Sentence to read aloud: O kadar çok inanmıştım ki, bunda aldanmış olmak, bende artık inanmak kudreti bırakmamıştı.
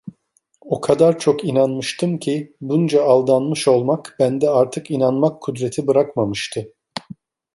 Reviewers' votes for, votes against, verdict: 0, 2, rejected